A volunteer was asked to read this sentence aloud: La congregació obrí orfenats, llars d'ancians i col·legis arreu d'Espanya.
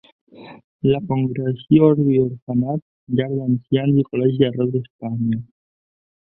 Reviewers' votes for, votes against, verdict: 2, 0, accepted